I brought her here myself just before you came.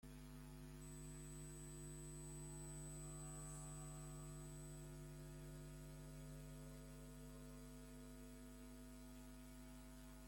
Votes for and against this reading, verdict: 0, 2, rejected